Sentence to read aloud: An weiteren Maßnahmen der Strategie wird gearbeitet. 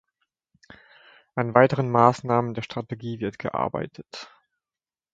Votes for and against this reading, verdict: 2, 0, accepted